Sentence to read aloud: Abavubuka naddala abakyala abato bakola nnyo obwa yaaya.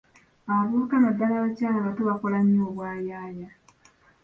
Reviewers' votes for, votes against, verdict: 2, 1, accepted